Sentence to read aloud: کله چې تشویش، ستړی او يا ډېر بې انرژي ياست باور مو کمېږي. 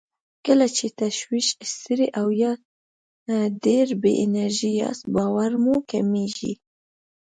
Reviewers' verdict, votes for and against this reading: rejected, 1, 2